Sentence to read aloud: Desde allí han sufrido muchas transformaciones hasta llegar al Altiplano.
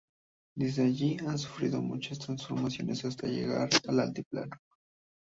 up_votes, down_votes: 2, 0